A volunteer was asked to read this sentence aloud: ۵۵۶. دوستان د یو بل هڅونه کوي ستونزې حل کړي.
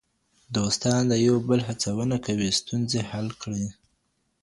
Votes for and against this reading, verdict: 0, 2, rejected